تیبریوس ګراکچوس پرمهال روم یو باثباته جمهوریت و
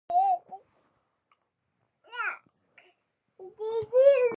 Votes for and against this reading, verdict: 0, 2, rejected